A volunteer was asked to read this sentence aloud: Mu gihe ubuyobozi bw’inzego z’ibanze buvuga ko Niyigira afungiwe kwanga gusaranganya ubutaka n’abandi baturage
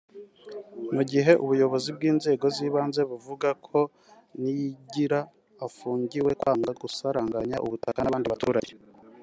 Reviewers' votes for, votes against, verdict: 4, 0, accepted